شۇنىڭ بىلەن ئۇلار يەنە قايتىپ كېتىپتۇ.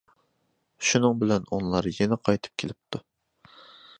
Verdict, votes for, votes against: rejected, 1, 2